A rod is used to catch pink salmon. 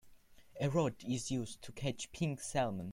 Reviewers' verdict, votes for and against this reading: accepted, 2, 0